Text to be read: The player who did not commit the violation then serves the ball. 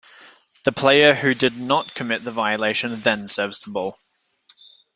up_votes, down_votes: 2, 0